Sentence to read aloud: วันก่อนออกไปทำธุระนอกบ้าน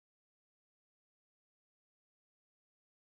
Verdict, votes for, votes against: rejected, 0, 2